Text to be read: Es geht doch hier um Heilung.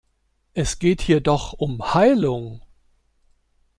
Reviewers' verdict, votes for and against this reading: rejected, 0, 2